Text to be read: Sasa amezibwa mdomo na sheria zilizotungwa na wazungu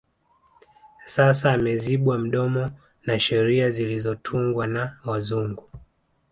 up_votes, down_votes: 2, 1